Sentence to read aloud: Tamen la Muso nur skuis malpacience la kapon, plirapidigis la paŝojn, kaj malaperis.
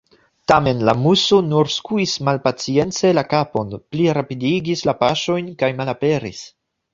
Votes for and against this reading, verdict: 2, 0, accepted